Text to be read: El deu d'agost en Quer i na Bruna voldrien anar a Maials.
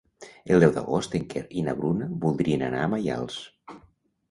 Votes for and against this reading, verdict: 2, 0, accepted